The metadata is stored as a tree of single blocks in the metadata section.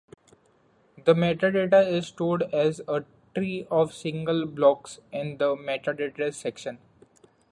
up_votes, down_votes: 0, 2